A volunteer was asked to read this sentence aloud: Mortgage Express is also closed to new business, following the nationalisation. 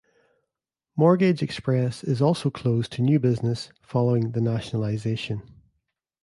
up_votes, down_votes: 2, 0